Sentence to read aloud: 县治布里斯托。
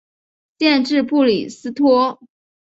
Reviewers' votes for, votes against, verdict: 2, 0, accepted